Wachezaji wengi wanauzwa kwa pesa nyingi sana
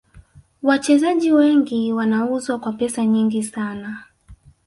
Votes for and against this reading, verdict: 2, 0, accepted